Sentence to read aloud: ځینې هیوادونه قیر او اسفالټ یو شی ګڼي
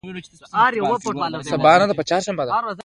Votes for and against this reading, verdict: 1, 2, rejected